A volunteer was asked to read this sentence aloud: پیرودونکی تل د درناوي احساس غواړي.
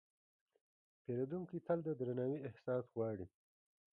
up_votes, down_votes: 2, 0